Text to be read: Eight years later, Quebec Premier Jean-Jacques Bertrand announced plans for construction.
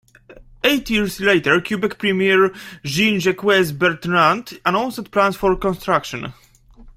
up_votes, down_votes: 0, 2